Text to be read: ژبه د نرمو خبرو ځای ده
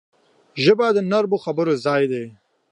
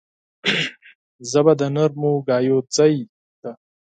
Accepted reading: first